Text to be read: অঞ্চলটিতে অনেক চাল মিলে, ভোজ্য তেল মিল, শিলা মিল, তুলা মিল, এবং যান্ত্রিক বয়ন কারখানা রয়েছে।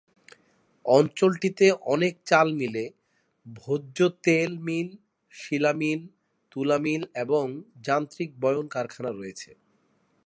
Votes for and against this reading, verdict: 2, 0, accepted